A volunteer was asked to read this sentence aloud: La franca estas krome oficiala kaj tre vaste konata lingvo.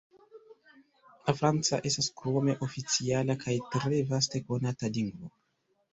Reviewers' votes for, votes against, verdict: 1, 2, rejected